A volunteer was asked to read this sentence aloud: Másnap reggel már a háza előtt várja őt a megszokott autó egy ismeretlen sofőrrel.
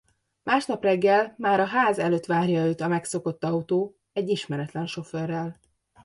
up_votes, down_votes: 0, 2